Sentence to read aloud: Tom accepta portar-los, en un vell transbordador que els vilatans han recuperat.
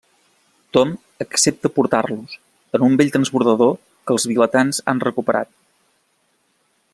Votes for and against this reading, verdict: 2, 0, accepted